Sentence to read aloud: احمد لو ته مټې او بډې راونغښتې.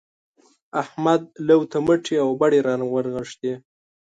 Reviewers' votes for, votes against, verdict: 2, 0, accepted